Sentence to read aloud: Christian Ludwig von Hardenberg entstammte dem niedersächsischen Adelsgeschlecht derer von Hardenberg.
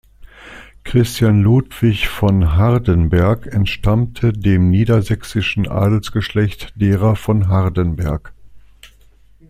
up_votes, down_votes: 2, 0